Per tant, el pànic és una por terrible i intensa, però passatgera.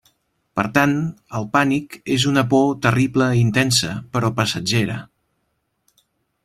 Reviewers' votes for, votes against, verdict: 2, 0, accepted